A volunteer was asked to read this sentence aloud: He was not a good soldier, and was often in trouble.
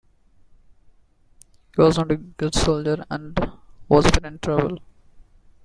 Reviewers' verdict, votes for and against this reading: rejected, 1, 2